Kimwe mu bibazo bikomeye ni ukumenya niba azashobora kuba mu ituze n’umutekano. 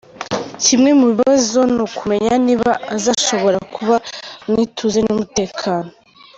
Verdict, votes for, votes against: rejected, 0, 2